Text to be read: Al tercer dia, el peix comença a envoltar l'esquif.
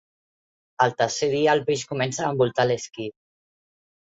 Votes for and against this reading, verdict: 2, 0, accepted